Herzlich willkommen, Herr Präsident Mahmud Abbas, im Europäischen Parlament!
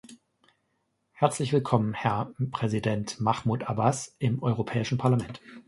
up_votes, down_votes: 0, 2